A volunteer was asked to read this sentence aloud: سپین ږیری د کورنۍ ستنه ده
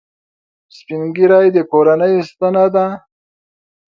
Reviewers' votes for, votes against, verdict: 2, 0, accepted